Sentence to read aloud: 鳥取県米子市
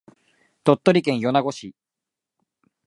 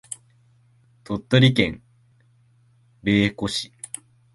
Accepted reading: first